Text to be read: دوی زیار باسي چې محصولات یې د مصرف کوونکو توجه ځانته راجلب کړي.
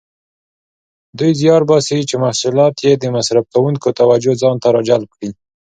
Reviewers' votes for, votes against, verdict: 3, 0, accepted